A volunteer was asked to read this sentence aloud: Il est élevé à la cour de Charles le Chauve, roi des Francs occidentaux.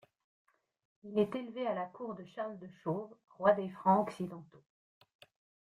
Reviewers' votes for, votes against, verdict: 1, 2, rejected